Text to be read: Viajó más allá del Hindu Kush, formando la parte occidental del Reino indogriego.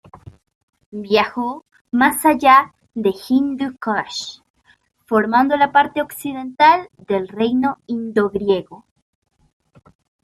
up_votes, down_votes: 2, 0